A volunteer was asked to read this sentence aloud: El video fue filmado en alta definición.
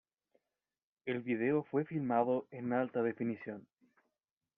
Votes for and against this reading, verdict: 2, 0, accepted